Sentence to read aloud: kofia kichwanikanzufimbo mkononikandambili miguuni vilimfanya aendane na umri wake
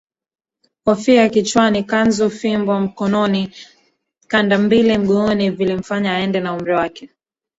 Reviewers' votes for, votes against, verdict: 0, 2, rejected